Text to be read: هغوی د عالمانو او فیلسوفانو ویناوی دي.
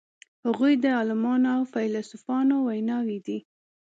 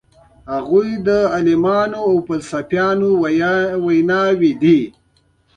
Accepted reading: first